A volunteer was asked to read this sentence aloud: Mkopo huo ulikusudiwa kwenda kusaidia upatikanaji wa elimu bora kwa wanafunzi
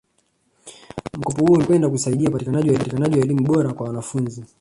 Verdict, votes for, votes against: rejected, 1, 2